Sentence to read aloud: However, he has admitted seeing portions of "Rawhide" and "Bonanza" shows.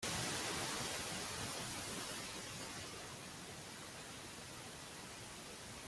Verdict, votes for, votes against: rejected, 0, 2